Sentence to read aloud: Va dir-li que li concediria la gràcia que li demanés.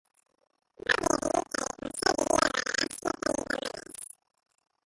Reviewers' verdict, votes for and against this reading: rejected, 0, 2